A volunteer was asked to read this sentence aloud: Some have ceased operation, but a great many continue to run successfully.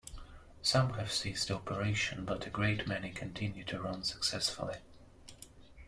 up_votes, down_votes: 2, 0